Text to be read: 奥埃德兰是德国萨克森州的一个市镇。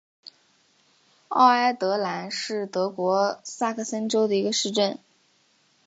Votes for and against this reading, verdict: 6, 0, accepted